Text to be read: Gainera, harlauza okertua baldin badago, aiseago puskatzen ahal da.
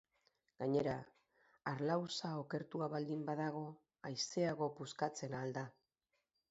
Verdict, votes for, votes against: accepted, 2, 0